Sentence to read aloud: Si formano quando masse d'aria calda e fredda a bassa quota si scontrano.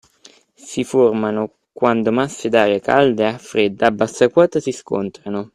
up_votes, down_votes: 2, 1